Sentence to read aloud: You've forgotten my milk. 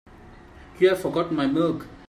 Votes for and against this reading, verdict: 2, 0, accepted